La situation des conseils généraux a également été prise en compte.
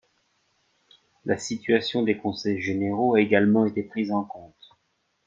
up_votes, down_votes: 1, 2